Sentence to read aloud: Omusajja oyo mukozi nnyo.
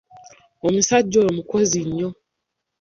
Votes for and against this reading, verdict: 1, 2, rejected